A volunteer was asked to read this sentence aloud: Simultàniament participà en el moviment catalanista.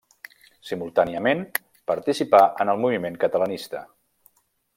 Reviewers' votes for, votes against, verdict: 3, 0, accepted